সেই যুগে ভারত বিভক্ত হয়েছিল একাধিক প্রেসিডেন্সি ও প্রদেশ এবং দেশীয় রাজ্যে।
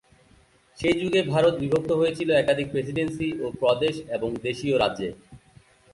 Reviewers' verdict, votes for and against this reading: rejected, 2, 2